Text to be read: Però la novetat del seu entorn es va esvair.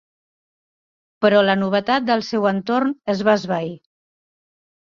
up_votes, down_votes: 3, 0